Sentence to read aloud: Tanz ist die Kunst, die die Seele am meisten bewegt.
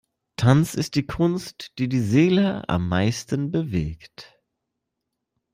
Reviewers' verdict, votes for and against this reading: accepted, 2, 0